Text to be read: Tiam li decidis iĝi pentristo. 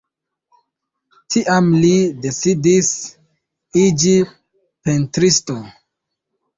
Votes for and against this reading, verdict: 2, 0, accepted